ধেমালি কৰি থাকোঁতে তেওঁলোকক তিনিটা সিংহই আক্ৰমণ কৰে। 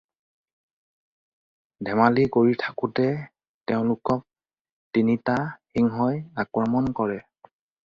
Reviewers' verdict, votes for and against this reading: accepted, 4, 0